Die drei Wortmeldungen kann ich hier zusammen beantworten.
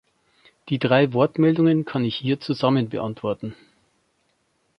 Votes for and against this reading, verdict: 2, 0, accepted